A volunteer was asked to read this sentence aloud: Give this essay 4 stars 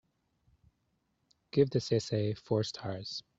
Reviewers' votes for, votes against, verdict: 0, 2, rejected